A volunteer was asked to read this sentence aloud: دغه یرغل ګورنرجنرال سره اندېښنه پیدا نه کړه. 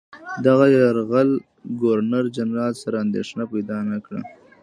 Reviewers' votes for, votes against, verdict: 1, 2, rejected